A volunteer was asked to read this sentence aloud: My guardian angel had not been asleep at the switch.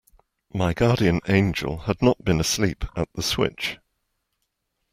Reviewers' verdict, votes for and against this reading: accepted, 2, 0